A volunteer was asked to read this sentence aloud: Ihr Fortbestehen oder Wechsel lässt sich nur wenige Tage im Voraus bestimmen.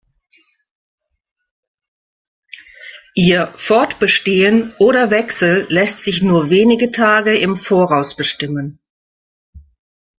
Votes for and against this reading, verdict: 2, 0, accepted